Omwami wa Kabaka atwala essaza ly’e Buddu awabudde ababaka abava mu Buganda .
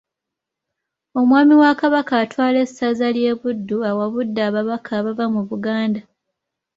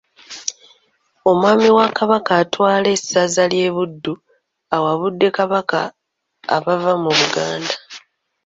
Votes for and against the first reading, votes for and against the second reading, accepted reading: 2, 0, 0, 2, first